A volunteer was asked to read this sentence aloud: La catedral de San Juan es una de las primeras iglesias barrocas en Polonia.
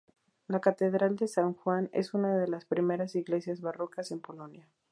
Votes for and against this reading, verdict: 0, 2, rejected